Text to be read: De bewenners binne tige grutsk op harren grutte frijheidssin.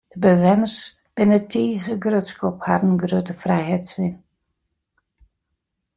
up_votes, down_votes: 2, 0